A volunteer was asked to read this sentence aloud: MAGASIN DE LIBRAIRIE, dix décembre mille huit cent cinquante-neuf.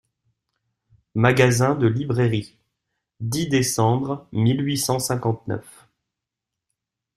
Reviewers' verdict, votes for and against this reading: accepted, 2, 0